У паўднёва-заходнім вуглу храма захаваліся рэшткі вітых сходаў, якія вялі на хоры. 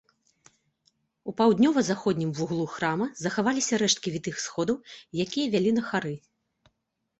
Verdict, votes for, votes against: rejected, 0, 2